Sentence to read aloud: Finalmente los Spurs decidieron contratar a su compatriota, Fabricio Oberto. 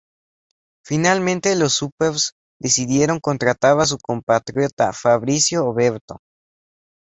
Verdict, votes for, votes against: accepted, 2, 0